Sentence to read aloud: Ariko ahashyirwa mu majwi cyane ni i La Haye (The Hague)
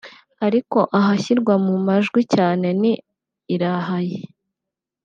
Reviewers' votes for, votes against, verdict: 0, 2, rejected